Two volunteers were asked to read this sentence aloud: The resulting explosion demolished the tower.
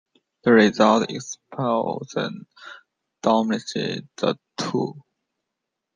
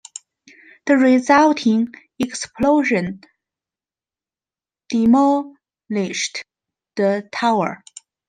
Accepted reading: second